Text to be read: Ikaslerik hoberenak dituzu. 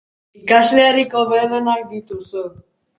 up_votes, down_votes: 1, 2